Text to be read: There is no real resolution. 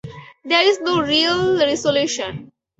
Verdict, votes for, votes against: accepted, 4, 0